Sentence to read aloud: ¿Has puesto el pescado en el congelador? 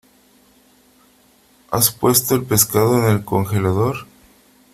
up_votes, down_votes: 3, 0